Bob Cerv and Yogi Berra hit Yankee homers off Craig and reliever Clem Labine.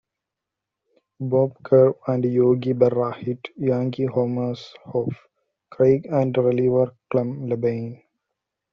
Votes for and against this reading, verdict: 1, 2, rejected